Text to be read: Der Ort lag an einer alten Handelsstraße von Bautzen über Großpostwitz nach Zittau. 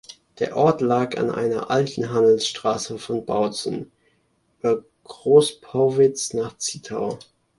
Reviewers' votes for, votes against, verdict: 0, 2, rejected